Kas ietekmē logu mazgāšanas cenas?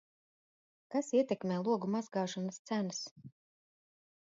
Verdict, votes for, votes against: accepted, 2, 0